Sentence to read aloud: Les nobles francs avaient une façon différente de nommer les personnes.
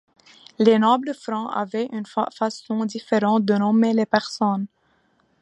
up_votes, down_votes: 0, 2